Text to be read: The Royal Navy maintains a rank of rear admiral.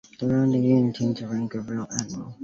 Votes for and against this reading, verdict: 0, 2, rejected